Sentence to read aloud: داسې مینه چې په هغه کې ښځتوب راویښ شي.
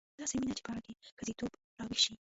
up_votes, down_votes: 0, 2